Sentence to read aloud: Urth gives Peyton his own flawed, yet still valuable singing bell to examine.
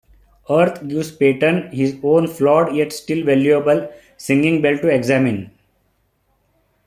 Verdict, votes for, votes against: accepted, 2, 1